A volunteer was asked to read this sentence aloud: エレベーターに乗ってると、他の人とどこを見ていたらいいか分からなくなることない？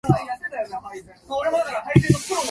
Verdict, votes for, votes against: rejected, 0, 2